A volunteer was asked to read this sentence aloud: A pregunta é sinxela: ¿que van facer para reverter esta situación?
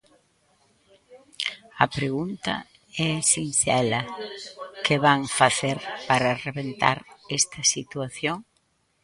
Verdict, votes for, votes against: rejected, 0, 2